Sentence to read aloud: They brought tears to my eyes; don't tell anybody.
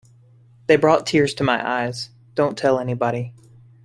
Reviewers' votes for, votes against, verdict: 2, 0, accepted